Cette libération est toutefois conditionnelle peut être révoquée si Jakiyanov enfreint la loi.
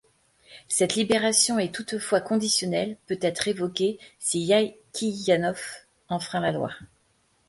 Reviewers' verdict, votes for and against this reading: rejected, 1, 2